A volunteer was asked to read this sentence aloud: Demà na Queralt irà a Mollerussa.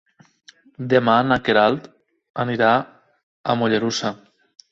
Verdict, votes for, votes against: rejected, 0, 2